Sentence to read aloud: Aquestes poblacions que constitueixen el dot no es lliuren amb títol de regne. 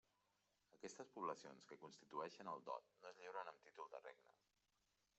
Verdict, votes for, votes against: rejected, 0, 2